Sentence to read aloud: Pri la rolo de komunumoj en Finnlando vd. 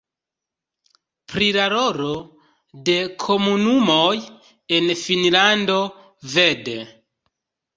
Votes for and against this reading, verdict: 1, 2, rejected